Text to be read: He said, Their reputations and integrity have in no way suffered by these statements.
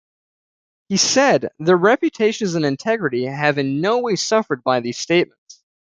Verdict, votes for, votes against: accepted, 2, 0